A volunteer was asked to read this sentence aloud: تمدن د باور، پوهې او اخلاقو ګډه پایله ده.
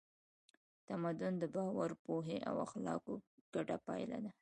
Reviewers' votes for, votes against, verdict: 2, 0, accepted